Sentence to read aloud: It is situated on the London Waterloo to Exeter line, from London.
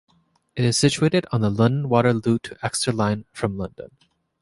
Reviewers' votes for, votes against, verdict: 3, 0, accepted